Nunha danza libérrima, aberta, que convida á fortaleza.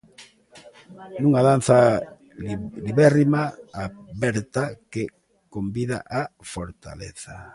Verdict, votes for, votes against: rejected, 0, 2